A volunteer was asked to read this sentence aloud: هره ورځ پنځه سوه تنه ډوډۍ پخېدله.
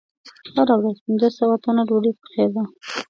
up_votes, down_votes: 2, 1